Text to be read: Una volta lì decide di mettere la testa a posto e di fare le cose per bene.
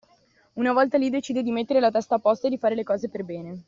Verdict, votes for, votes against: accepted, 2, 0